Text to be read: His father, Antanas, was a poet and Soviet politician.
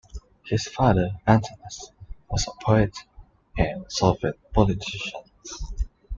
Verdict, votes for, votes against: accepted, 2, 1